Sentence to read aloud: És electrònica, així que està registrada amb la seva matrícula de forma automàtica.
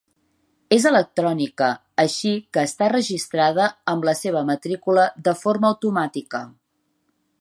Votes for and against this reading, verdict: 4, 0, accepted